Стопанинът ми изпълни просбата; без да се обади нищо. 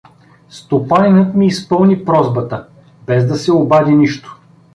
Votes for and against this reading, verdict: 2, 0, accepted